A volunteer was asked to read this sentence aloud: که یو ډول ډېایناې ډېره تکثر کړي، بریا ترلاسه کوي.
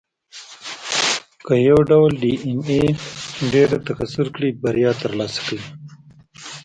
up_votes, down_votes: 0, 2